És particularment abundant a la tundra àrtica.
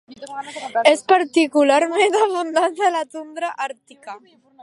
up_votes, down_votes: 2, 1